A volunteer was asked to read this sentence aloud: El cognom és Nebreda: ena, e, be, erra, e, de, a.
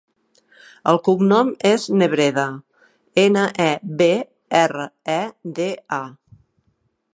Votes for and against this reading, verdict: 2, 0, accepted